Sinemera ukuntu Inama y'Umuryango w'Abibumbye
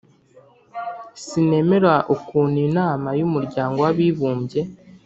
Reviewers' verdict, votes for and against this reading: accepted, 3, 0